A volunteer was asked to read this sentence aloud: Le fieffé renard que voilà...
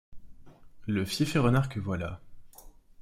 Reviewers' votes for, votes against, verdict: 2, 0, accepted